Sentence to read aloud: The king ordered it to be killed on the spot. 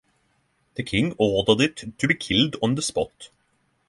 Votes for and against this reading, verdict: 6, 0, accepted